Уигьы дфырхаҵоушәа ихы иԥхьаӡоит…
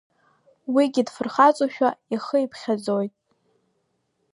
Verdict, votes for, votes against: accepted, 2, 0